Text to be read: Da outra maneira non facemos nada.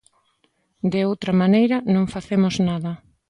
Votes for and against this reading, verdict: 1, 2, rejected